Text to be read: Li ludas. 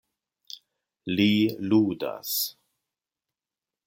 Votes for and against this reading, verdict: 2, 0, accepted